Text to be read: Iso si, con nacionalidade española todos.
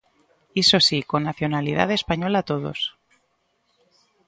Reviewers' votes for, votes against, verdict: 2, 0, accepted